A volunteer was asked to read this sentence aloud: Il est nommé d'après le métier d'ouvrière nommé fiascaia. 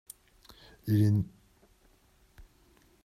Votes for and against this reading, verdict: 0, 2, rejected